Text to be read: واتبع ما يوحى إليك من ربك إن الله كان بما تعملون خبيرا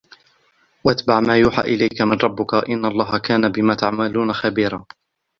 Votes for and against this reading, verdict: 1, 2, rejected